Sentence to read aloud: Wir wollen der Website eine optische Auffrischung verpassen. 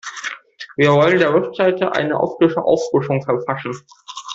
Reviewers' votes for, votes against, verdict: 2, 1, accepted